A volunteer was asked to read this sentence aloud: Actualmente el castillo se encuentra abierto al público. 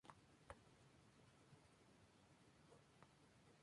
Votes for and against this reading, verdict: 0, 4, rejected